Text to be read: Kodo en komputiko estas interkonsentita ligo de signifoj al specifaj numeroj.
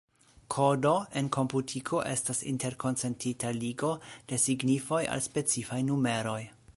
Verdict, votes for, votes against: rejected, 1, 2